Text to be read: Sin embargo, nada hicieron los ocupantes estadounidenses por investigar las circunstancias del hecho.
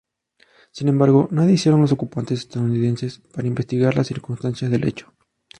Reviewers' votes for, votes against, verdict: 0, 2, rejected